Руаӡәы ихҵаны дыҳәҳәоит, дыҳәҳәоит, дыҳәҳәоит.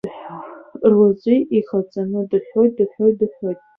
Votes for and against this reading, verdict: 0, 2, rejected